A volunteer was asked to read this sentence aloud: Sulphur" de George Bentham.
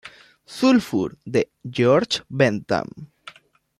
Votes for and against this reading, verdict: 2, 0, accepted